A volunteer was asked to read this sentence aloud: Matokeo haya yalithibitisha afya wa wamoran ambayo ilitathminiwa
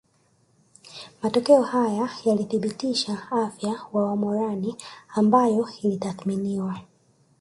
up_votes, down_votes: 1, 2